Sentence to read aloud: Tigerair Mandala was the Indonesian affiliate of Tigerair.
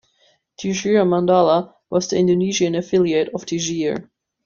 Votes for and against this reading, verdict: 1, 2, rejected